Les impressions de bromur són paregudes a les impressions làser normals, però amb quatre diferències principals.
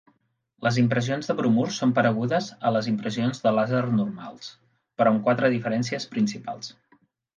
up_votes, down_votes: 1, 2